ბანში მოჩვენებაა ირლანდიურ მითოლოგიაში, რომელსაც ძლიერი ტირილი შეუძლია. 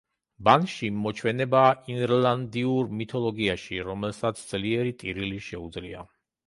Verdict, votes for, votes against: rejected, 0, 2